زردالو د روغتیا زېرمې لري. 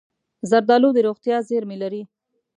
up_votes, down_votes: 2, 0